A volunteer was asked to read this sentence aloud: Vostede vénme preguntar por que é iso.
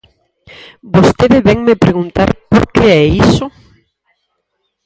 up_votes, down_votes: 2, 4